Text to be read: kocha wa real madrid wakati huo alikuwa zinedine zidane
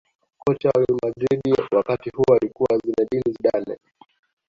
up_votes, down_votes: 2, 0